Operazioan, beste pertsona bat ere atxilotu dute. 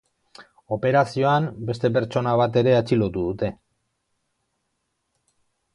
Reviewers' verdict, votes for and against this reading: accepted, 2, 0